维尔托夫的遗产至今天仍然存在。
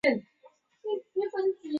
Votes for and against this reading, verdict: 0, 3, rejected